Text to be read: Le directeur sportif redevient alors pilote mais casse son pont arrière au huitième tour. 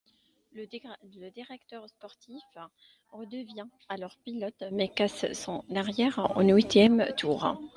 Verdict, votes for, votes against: rejected, 1, 2